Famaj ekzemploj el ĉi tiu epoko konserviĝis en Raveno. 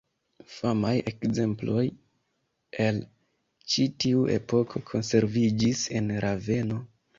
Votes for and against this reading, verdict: 2, 1, accepted